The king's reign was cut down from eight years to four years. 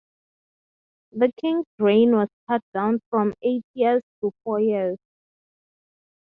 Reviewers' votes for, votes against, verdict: 3, 0, accepted